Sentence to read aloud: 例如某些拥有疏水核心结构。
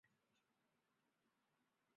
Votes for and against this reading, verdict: 2, 3, rejected